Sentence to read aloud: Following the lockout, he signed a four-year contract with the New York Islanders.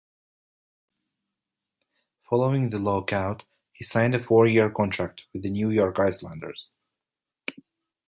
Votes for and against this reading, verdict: 1, 2, rejected